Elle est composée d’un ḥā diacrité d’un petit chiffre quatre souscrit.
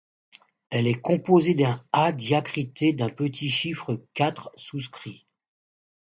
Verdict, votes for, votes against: accepted, 2, 0